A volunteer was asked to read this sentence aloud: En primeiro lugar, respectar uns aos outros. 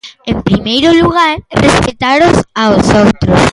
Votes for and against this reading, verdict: 0, 2, rejected